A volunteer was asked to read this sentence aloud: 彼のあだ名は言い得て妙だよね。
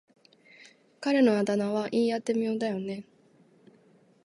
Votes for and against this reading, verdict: 2, 0, accepted